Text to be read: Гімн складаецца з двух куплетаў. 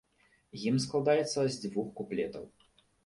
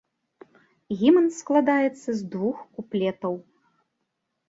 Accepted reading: second